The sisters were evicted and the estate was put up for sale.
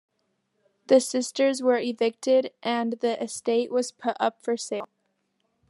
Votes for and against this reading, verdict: 3, 1, accepted